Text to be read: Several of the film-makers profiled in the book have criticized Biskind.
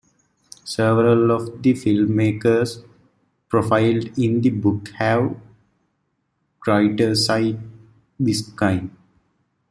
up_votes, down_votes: 1, 2